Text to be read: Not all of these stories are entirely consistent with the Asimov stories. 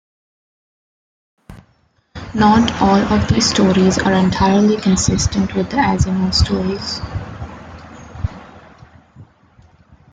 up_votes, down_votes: 2, 0